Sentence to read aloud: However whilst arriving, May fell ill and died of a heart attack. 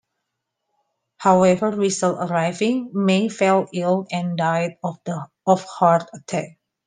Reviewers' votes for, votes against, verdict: 0, 2, rejected